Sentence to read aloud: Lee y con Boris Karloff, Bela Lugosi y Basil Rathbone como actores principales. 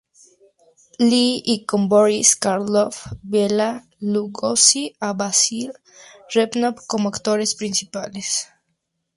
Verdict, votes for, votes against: rejected, 0, 4